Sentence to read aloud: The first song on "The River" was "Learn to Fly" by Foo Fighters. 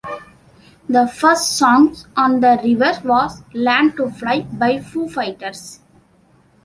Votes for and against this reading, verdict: 2, 0, accepted